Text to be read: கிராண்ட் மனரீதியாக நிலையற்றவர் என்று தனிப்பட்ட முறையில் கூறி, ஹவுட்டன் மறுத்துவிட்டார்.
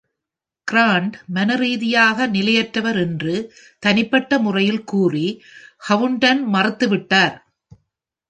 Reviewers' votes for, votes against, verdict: 0, 2, rejected